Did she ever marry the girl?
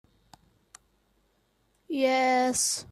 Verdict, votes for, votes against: rejected, 2, 3